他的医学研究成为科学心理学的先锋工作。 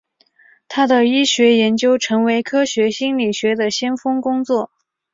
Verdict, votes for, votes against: accepted, 3, 0